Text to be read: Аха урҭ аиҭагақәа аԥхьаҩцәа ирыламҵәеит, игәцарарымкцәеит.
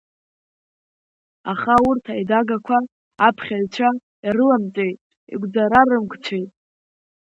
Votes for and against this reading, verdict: 2, 1, accepted